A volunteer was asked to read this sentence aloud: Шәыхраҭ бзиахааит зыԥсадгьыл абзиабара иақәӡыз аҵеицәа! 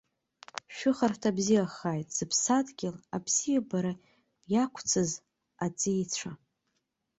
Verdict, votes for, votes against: rejected, 1, 2